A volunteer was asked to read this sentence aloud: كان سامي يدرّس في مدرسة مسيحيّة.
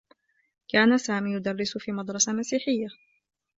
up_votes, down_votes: 2, 0